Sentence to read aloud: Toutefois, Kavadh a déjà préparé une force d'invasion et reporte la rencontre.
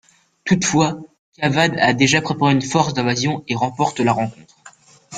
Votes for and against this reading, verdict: 0, 2, rejected